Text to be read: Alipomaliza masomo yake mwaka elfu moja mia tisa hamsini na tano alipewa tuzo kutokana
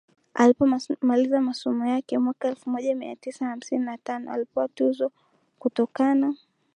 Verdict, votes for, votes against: accepted, 9, 2